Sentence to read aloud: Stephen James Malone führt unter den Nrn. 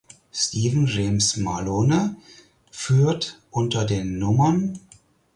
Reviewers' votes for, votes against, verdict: 2, 4, rejected